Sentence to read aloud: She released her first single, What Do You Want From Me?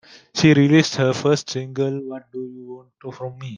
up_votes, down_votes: 0, 2